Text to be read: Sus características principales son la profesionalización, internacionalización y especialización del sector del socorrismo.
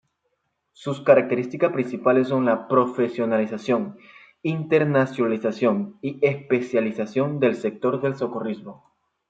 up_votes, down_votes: 2, 0